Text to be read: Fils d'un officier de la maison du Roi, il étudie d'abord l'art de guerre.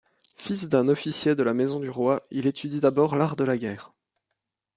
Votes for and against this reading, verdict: 1, 2, rejected